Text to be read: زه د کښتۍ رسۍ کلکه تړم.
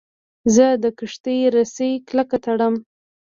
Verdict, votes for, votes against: accepted, 2, 0